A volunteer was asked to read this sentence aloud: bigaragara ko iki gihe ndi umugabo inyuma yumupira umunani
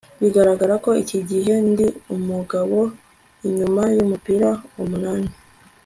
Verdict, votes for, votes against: accepted, 4, 0